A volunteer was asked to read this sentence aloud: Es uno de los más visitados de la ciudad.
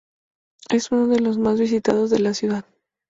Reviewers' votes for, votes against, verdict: 2, 0, accepted